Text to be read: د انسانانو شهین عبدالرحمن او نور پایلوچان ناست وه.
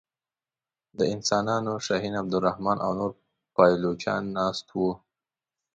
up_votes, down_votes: 1, 2